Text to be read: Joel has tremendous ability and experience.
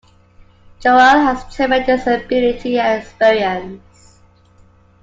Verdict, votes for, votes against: rejected, 1, 2